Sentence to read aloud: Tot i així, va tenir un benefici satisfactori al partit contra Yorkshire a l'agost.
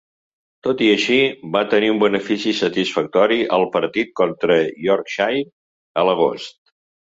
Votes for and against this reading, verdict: 3, 0, accepted